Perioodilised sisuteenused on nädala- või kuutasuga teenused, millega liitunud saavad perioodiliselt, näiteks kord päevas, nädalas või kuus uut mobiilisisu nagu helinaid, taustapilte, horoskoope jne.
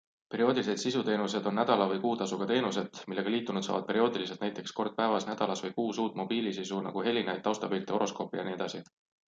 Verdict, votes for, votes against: accepted, 2, 0